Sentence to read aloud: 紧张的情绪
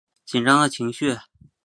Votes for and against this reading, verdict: 3, 0, accepted